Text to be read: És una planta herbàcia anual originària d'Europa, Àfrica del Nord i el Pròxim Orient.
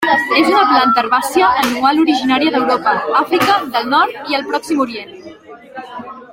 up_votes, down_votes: 3, 1